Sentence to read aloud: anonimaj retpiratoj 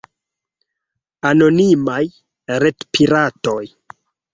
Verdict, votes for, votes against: accepted, 2, 0